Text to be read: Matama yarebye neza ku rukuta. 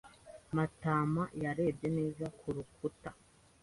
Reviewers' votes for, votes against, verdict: 2, 0, accepted